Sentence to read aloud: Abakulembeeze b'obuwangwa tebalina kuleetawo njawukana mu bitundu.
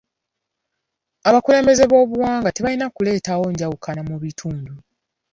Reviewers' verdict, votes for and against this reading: accepted, 2, 0